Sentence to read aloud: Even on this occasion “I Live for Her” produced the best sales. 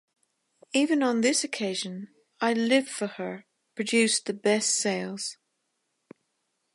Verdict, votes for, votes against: accepted, 2, 0